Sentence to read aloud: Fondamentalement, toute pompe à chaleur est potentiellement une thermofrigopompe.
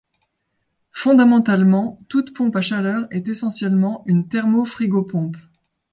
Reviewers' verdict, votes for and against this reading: rejected, 0, 2